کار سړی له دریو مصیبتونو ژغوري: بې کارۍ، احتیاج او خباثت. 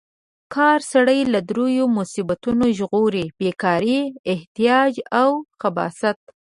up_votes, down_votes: 2, 0